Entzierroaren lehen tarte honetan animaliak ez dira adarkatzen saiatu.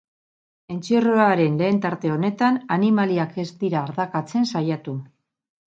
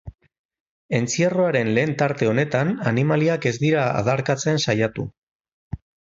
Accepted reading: second